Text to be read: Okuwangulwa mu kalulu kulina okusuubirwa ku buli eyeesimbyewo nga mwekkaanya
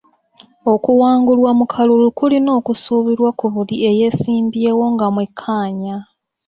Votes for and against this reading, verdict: 3, 0, accepted